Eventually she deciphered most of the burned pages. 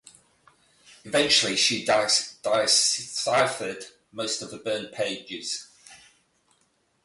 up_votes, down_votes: 0, 4